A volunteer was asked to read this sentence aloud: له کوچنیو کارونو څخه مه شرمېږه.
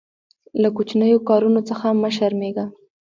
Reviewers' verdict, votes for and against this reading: rejected, 0, 2